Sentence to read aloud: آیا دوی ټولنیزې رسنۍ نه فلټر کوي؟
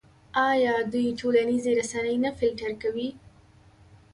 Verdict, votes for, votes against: accepted, 2, 1